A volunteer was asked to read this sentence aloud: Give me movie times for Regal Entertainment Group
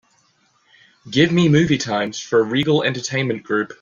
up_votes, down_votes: 2, 0